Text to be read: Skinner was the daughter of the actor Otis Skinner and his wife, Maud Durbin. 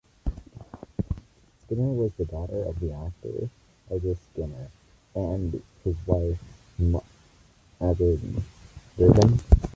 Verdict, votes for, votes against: rejected, 0, 2